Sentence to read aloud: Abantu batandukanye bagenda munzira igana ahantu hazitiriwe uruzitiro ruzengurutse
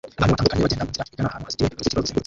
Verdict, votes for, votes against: rejected, 0, 2